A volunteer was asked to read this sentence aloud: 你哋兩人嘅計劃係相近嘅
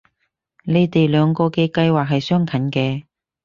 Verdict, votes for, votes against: accepted, 4, 0